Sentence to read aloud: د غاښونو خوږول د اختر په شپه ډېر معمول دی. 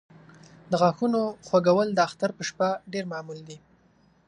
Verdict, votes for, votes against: accepted, 2, 0